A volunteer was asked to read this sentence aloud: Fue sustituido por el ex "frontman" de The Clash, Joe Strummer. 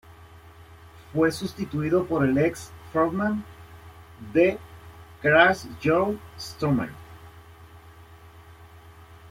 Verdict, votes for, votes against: rejected, 1, 2